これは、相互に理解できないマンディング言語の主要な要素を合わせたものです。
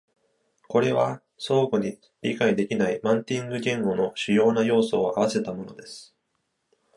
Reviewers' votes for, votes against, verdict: 1, 2, rejected